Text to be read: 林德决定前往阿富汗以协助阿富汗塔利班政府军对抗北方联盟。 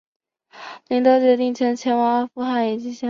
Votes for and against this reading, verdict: 0, 4, rejected